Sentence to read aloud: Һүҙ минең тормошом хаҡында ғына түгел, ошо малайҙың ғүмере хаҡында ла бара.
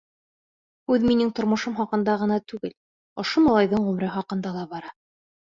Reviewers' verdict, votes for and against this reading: rejected, 0, 2